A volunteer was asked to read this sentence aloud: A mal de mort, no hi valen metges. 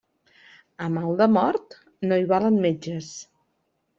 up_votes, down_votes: 3, 0